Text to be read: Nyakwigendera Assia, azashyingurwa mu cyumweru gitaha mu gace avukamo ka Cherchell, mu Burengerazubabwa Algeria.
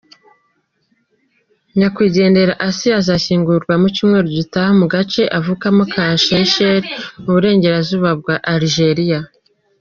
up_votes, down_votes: 2, 0